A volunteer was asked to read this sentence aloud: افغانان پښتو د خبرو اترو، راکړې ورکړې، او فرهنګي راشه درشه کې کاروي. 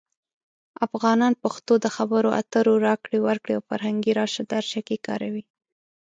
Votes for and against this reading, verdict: 2, 0, accepted